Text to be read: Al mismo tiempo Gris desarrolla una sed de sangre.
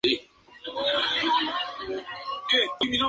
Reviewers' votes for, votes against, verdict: 2, 0, accepted